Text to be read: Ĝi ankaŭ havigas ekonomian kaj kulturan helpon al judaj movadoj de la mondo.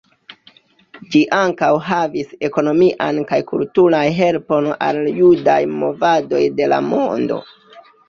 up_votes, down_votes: 0, 2